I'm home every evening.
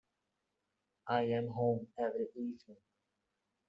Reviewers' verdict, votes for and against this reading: accepted, 2, 0